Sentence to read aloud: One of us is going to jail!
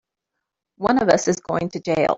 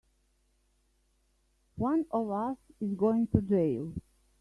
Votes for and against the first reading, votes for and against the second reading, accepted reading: 2, 3, 3, 0, second